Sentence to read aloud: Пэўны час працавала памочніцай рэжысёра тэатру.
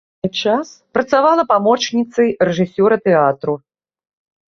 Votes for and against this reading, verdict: 0, 2, rejected